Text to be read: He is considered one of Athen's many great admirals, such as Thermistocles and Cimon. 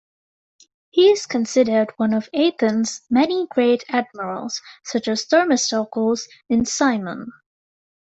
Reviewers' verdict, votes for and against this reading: rejected, 2, 3